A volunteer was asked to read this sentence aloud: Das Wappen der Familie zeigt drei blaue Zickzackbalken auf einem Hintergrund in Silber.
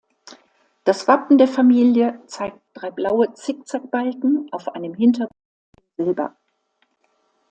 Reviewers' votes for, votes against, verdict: 1, 2, rejected